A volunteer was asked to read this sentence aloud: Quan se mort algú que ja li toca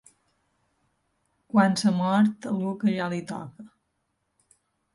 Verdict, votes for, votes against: accepted, 2, 0